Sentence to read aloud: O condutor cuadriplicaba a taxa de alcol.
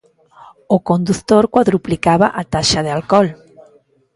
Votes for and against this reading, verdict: 0, 2, rejected